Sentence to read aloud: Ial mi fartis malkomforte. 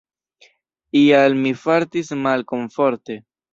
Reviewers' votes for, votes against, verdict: 1, 2, rejected